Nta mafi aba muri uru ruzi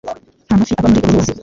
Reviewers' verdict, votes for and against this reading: rejected, 0, 2